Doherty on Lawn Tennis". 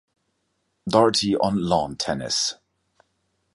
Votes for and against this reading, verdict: 2, 0, accepted